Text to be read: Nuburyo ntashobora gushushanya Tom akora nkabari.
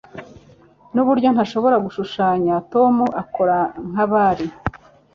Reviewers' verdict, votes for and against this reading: accepted, 3, 0